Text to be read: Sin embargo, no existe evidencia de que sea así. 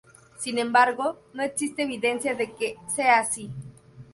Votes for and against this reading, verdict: 2, 0, accepted